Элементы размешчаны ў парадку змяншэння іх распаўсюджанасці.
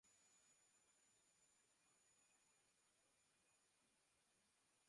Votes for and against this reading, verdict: 0, 2, rejected